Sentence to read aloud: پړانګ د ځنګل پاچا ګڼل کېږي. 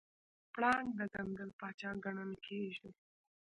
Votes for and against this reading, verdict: 0, 2, rejected